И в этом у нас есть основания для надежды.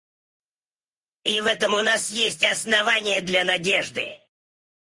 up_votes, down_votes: 0, 4